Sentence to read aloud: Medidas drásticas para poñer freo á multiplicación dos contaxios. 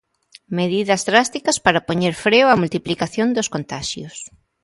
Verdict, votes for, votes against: accepted, 2, 0